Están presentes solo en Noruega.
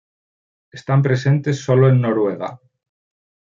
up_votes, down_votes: 2, 0